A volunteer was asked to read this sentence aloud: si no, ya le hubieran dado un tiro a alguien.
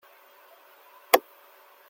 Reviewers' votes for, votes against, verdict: 0, 2, rejected